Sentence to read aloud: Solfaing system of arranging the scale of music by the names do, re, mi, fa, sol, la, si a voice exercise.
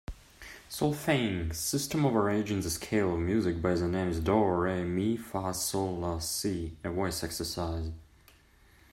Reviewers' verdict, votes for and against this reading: accepted, 2, 0